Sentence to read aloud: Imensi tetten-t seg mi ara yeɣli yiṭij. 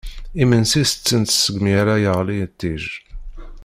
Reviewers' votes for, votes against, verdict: 1, 2, rejected